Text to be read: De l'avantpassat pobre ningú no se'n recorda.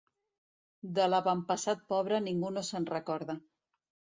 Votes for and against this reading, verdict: 2, 0, accepted